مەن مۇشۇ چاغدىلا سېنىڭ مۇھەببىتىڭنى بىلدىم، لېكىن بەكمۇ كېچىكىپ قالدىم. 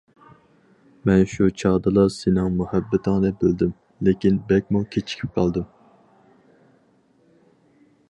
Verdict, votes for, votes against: rejected, 0, 4